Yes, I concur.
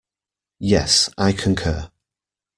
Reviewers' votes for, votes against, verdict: 1, 2, rejected